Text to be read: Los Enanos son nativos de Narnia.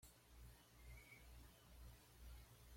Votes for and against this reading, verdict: 1, 2, rejected